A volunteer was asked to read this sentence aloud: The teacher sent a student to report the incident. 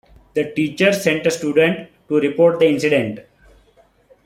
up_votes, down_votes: 2, 0